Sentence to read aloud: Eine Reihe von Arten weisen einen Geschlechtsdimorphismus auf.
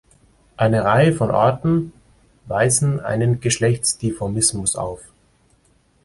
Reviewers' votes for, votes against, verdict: 1, 2, rejected